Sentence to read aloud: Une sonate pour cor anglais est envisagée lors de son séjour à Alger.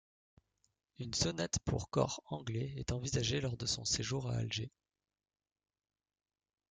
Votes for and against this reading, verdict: 2, 0, accepted